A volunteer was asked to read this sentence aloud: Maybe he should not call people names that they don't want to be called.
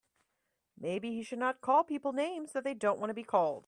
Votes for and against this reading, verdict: 3, 0, accepted